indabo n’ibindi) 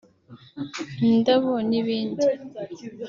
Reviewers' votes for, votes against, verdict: 2, 0, accepted